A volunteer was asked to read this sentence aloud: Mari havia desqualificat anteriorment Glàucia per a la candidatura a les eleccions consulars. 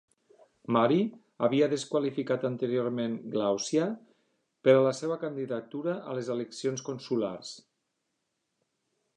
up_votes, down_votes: 2, 1